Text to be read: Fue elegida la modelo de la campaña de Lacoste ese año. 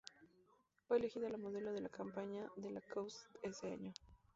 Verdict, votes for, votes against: rejected, 0, 2